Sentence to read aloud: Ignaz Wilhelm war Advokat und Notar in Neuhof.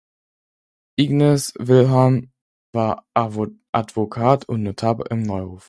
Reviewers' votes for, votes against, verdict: 0, 4, rejected